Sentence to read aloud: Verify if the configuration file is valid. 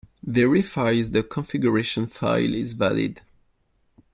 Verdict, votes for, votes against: rejected, 0, 2